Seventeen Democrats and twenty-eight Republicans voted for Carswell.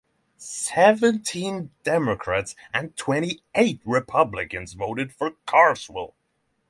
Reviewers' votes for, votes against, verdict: 3, 0, accepted